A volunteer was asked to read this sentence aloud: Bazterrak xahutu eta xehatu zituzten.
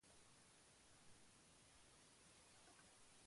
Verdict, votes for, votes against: rejected, 0, 2